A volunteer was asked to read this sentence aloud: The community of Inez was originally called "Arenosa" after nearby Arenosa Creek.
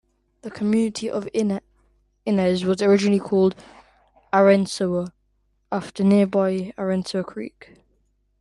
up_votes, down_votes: 1, 2